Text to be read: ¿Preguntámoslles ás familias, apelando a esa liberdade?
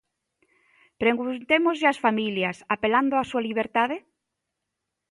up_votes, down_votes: 1, 2